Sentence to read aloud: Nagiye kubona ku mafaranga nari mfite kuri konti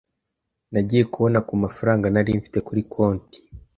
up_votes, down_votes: 2, 0